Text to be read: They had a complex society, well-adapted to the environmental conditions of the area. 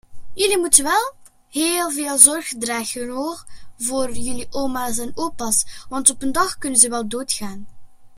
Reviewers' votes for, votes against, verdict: 0, 2, rejected